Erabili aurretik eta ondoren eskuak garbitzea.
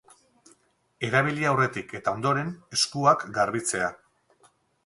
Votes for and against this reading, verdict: 4, 0, accepted